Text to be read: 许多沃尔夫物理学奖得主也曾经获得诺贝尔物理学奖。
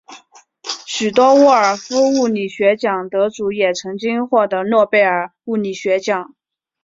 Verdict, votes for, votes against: accepted, 3, 0